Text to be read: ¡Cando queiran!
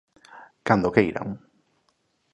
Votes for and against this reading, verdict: 2, 0, accepted